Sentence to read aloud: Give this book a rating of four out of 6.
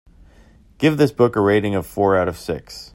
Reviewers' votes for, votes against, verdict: 0, 2, rejected